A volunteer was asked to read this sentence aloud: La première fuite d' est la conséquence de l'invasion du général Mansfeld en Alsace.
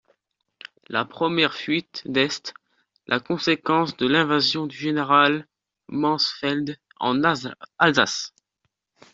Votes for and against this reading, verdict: 1, 2, rejected